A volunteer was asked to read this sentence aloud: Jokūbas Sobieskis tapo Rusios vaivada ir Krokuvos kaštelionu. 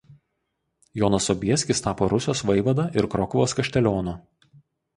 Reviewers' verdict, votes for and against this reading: rejected, 0, 2